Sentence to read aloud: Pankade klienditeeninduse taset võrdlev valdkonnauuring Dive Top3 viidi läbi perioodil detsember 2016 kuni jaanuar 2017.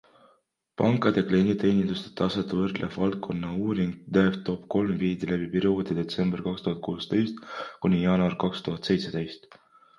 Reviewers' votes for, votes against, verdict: 0, 2, rejected